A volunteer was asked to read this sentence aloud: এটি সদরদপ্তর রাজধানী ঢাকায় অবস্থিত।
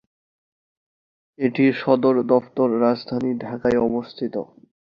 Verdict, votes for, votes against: accepted, 2, 0